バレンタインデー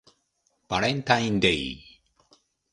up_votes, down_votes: 2, 0